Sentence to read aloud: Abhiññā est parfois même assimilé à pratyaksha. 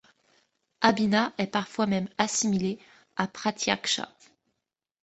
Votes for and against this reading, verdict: 2, 0, accepted